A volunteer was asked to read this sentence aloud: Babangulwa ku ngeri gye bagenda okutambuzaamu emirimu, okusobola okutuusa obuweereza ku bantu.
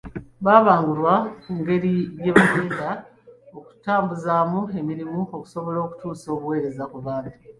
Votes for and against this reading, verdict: 2, 1, accepted